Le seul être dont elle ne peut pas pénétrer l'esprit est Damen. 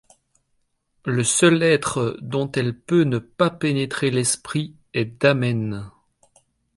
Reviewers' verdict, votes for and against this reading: rejected, 0, 2